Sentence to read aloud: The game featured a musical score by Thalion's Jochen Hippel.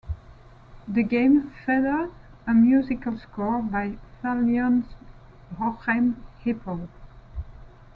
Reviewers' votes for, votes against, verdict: 1, 2, rejected